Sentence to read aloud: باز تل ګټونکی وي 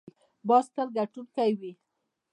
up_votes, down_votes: 2, 0